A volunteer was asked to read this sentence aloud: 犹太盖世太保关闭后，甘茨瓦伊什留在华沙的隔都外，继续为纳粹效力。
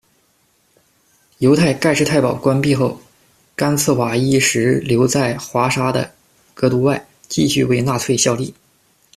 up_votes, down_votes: 2, 0